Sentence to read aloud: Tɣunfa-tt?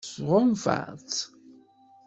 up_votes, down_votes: 2, 0